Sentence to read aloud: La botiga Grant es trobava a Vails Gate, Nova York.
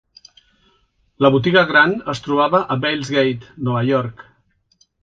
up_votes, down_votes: 2, 0